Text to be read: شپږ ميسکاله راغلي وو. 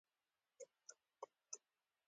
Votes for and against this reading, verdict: 2, 0, accepted